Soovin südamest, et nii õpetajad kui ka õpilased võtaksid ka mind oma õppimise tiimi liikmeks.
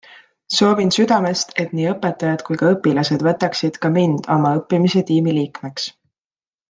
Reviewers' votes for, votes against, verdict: 2, 1, accepted